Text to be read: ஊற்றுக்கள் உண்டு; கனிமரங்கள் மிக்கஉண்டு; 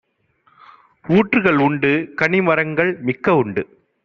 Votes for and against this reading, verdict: 2, 0, accepted